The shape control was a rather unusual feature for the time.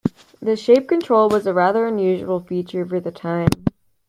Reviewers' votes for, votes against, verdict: 2, 0, accepted